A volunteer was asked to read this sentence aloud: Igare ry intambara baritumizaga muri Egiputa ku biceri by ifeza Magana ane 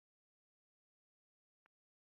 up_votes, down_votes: 0, 2